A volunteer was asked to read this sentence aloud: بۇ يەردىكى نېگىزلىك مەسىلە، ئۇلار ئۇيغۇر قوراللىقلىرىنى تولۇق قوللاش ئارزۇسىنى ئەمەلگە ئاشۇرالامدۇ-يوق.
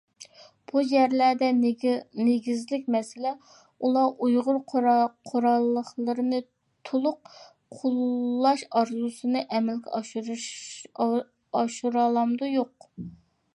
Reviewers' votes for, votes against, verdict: 0, 2, rejected